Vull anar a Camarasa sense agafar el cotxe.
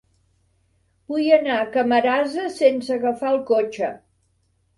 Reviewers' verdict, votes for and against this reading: rejected, 1, 2